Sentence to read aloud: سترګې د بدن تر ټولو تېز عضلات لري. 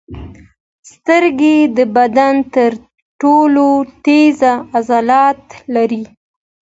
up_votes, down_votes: 2, 0